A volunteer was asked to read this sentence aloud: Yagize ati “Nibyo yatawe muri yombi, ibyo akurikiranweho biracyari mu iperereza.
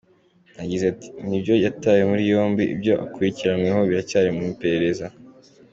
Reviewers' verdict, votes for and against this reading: accepted, 5, 2